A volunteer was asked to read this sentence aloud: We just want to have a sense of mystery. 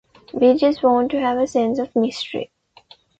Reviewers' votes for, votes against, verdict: 2, 0, accepted